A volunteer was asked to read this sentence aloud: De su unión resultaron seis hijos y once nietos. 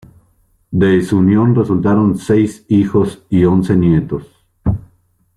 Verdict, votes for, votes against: accepted, 2, 0